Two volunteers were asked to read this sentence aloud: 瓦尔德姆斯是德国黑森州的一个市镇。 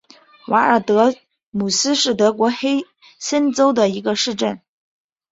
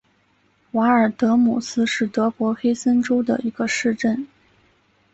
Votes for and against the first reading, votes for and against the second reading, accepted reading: 1, 2, 2, 0, second